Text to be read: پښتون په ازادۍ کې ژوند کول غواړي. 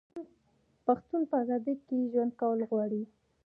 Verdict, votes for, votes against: rejected, 0, 2